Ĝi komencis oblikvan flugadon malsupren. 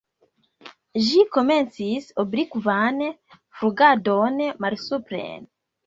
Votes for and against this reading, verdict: 1, 2, rejected